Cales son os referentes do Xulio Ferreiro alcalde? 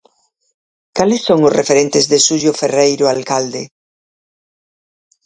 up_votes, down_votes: 0, 4